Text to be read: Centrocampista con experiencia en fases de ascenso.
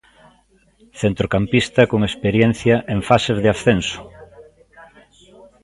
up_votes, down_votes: 2, 0